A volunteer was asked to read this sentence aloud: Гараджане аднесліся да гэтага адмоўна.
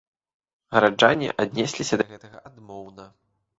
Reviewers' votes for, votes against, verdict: 2, 1, accepted